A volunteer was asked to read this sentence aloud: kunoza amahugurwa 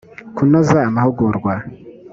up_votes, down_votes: 2, 0